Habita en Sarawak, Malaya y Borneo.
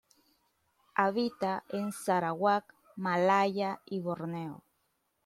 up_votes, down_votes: 2, 0